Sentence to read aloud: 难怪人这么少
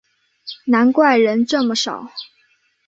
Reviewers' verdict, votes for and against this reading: accepted, 2, 0